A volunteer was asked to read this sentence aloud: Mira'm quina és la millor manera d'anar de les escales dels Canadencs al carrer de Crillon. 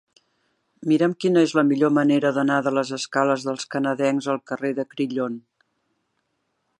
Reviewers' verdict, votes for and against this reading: accepted, 4, 0